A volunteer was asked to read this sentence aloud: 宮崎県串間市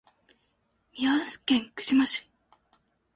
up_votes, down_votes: 1, 2